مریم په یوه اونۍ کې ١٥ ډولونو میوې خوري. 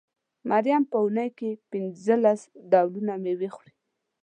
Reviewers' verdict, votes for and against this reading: rejected, 0, 2